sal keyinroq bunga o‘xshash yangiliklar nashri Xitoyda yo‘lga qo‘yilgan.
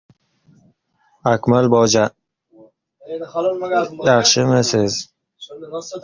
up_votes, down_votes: 0, 2